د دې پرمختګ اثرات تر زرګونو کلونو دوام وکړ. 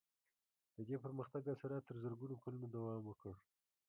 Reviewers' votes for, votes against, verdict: 0, 2, rejected